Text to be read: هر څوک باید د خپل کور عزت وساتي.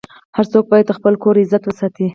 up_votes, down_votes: 2, 2